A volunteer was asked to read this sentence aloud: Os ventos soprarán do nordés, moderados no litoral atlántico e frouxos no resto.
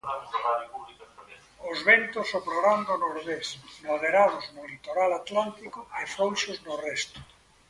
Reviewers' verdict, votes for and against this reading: rejected, 0, 2